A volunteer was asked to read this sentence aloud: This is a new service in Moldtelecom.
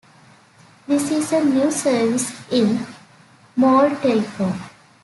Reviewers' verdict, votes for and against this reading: accepted, 3, 0